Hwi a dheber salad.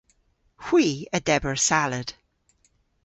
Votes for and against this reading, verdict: 0, 2, rejected